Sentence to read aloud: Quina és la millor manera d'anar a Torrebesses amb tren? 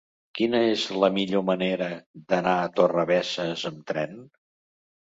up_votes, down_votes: 2, 0